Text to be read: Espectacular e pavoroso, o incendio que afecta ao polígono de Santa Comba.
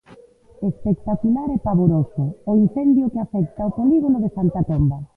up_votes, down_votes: 0, 2